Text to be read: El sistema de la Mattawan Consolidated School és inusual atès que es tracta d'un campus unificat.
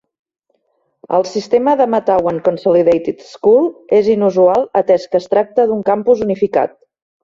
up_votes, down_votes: 2, 3